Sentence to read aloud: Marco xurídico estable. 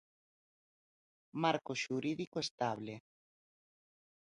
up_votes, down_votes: 2, 0